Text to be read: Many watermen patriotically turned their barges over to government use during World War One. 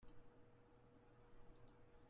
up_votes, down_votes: 0, 2